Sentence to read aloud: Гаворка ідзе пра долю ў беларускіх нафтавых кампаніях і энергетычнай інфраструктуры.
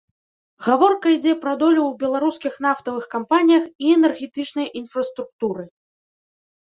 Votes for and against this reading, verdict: 2, 0, accepted